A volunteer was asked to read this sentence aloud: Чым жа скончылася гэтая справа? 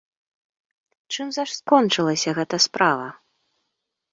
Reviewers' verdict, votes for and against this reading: rejected, 1, 2